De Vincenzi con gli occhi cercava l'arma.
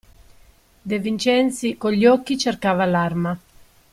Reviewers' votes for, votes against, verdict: 2, 1, accepted